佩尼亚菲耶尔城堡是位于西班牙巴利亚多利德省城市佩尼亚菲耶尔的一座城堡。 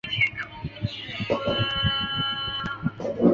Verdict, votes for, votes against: rejected, 0, 2